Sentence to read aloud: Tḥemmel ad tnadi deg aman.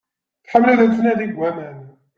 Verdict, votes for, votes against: accepted, 2, 0